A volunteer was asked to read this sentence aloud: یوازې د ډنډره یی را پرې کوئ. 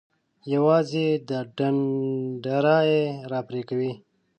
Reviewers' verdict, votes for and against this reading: rejected, 1, 2